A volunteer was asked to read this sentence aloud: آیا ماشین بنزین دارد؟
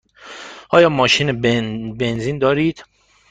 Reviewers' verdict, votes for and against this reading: rejected, 1, 2